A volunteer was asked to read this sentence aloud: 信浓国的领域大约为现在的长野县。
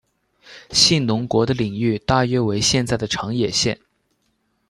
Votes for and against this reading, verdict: 2, 0, accepted